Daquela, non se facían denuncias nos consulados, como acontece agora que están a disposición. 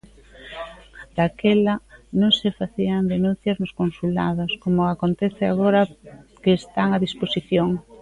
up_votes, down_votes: 0, 2